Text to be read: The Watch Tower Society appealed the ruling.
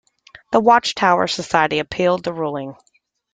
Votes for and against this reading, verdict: 2, 0, accepted